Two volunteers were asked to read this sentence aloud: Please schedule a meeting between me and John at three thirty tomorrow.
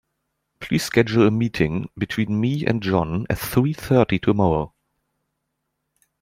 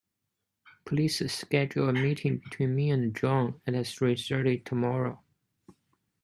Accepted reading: first